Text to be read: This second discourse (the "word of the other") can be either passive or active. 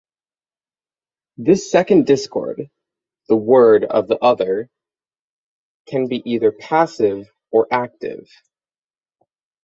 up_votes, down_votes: 0, 6